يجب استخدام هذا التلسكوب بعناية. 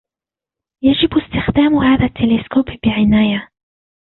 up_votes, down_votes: 2, 1